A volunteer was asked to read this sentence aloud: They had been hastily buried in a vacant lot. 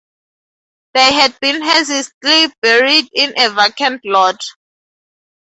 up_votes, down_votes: 0, 2